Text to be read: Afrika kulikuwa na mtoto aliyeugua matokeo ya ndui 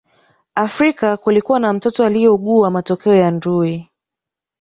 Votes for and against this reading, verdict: 3, 1, accepted